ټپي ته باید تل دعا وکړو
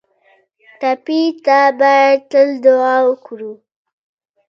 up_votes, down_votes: 1, 2